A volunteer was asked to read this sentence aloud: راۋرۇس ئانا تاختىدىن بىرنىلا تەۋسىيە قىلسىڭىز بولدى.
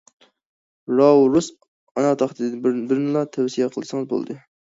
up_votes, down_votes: 2, 1